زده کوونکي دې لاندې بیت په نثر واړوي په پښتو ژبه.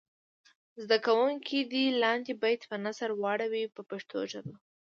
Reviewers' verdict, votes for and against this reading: accepted, 2, 0